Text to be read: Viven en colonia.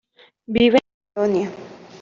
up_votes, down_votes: 0, 2